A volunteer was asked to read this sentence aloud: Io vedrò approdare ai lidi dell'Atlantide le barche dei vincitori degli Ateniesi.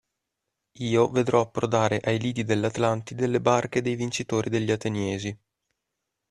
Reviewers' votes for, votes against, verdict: 2, 0, accepted